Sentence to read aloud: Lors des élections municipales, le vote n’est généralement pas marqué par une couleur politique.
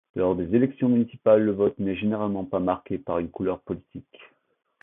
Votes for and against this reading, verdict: 2, 0, accepted